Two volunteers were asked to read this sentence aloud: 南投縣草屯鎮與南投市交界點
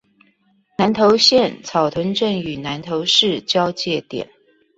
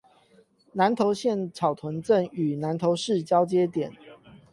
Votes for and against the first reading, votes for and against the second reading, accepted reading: 2, 0, 4, 8, first